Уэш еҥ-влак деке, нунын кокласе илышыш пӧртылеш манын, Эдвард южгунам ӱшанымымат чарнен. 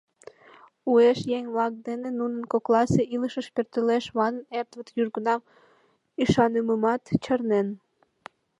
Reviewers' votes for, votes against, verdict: 2, 0, accepted